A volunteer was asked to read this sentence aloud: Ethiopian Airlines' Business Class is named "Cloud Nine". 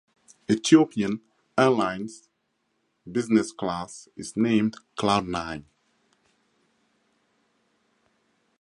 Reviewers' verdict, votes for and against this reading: accepted, 4, 0